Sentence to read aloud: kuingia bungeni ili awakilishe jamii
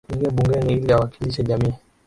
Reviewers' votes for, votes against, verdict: 0, 2, rejected